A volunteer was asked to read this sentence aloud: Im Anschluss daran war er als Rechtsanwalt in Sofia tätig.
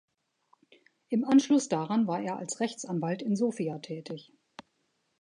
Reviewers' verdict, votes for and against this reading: accepted, 2, 0